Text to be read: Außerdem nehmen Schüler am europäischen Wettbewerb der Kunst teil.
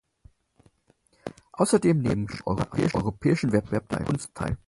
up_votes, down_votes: 0, 4